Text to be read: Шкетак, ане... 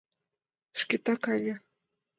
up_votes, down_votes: 2, 0